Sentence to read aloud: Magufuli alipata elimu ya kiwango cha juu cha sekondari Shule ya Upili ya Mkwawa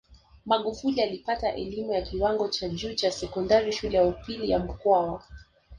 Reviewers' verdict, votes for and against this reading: accepted, 2, 1